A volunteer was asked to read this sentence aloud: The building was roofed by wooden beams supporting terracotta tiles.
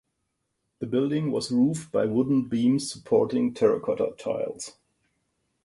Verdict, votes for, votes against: rejected, 2, 2